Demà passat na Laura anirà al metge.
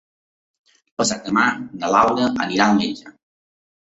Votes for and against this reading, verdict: 0, 2, rejected